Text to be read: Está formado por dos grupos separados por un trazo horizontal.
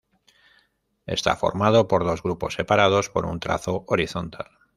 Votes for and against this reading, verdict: 1, 2, rejected